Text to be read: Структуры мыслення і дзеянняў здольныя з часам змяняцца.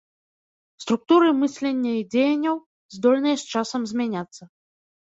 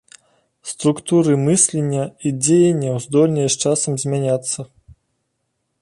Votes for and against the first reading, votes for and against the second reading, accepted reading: 1, 2, 2, 1, second